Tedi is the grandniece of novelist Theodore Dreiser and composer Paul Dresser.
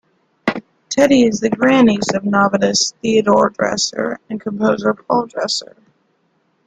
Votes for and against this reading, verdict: 2, 1, accepted